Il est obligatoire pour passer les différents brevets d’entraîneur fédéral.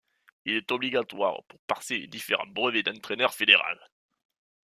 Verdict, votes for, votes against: rejected, 1, 2